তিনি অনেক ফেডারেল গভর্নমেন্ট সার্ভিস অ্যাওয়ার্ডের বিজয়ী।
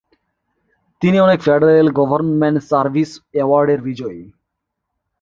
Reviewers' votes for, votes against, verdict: 3, 1, accepted